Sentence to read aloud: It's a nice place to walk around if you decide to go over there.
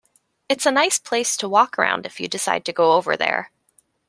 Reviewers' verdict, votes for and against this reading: accepted, 2, 0